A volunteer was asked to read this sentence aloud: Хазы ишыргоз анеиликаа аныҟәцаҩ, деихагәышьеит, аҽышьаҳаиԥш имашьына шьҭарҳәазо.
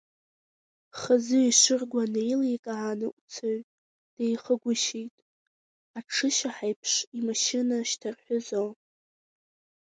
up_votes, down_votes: 1, 2